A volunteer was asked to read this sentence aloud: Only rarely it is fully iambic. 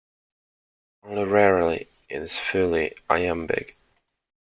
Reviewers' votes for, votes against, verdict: 0, 2, rejected